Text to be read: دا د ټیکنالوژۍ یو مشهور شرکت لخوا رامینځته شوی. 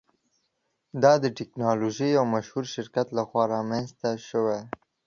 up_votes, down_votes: 2, 0